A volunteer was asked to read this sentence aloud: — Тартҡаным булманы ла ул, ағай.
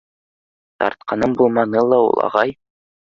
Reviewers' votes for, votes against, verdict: 2, 0, accepted